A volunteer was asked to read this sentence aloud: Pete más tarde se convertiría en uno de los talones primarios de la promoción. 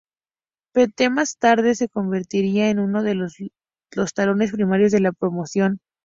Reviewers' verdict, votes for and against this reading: rejected, 2, 2